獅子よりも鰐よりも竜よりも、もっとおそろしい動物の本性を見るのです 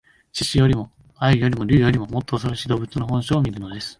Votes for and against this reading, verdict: 2, 3, rejected